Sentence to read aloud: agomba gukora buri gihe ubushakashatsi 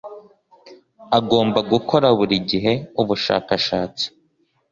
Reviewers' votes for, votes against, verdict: 2, 0, accepted